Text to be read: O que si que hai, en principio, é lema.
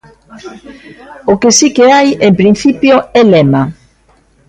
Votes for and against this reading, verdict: 2, 0, accepted